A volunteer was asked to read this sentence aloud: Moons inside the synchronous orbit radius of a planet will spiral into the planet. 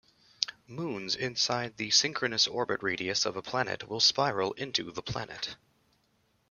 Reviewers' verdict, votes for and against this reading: accepted, 2, 0